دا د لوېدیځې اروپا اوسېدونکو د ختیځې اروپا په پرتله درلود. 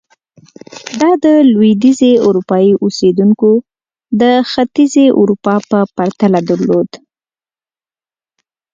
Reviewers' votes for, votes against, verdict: 0, 2, rejected